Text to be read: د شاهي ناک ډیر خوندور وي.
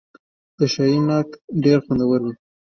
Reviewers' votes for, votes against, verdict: 2, 1, accepted